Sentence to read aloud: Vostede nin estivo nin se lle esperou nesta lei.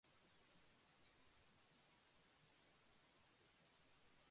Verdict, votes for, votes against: rejected, 0, 2